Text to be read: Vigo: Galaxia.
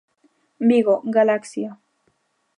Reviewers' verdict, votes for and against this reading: accepted, 2, 0